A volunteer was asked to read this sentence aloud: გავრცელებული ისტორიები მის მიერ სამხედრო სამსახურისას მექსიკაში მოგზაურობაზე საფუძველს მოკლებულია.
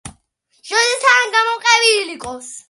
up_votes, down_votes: 0, 2